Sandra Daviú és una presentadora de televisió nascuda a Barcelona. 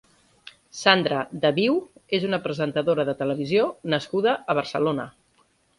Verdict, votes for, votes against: accepted, 2, 0